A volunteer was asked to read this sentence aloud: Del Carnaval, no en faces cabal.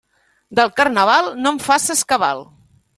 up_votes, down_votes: 2, 0